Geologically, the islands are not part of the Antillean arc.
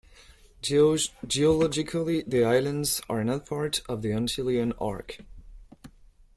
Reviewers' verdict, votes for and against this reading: rejected, 1, 2